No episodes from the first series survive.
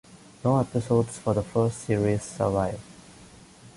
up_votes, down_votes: 1, 2